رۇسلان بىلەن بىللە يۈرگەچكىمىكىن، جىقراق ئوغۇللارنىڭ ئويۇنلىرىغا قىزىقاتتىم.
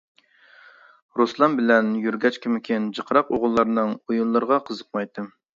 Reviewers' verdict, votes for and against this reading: rejected, 0, 2